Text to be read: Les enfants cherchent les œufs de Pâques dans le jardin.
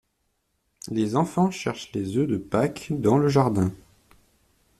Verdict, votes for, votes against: accepted, 2, 0